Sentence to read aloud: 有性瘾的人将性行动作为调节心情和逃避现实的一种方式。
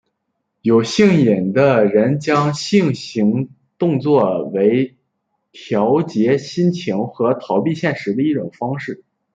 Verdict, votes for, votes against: rejected, 0, 2